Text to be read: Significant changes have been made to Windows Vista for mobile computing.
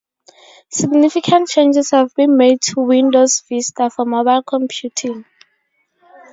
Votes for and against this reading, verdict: 2, 0, accepted